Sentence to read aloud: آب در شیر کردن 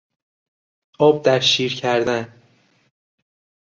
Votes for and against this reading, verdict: 2, 0, accepted